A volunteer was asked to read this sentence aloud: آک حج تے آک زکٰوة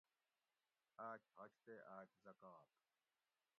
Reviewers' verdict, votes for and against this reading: rejected, 1, 2